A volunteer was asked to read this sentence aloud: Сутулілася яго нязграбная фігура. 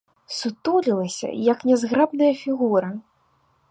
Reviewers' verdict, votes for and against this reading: rejected, 1, 2